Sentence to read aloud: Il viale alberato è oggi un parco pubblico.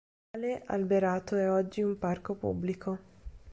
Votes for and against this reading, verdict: 1, 2, rejected